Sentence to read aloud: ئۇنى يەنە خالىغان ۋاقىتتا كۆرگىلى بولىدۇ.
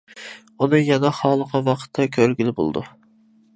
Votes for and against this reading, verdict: 2, 0, accepted